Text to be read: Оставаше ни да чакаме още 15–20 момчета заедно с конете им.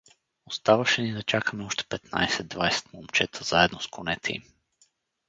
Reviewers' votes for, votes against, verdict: 0, 2, rejected